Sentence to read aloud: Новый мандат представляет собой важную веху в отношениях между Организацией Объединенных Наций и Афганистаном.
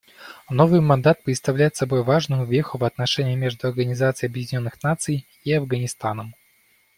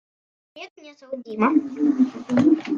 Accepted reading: first